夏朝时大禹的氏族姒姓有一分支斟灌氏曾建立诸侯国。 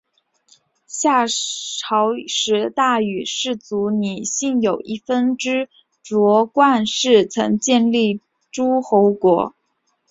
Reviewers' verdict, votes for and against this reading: accepted, 3, 0